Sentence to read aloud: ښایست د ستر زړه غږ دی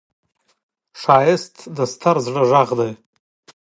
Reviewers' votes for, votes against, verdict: 2, 0, accepted